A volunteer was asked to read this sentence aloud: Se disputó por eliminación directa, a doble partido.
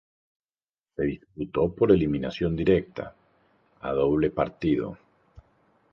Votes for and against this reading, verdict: 2, 0, accepted